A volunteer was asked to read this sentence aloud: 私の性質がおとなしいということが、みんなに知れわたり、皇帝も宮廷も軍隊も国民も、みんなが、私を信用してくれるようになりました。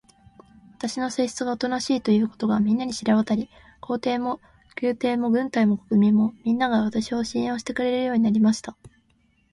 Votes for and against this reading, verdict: 2, 0, accepted